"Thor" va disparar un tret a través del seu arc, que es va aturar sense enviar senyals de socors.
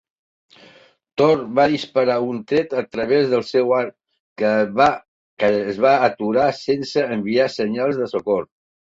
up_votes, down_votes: 0, 2